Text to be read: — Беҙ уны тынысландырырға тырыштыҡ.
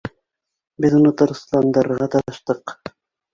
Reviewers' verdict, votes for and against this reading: rejected, 0, 2